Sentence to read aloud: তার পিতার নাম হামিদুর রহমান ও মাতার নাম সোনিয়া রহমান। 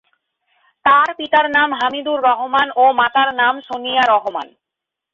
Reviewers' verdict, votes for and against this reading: accepted, 11, 1